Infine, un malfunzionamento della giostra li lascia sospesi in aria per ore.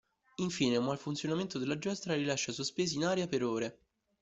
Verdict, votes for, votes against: accepted, 2, 0